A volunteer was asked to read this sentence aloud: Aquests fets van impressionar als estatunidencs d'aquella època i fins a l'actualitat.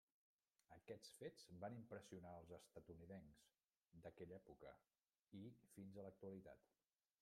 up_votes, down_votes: 1, 2